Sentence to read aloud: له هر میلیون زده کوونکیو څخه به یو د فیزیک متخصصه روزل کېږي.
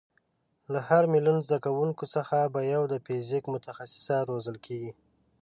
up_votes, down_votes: 2, 0